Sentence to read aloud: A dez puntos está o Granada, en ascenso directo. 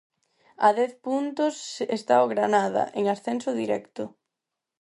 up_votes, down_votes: 4, 0